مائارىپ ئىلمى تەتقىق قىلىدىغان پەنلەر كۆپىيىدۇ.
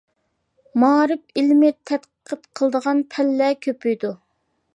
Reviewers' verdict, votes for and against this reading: rejected, 1, 2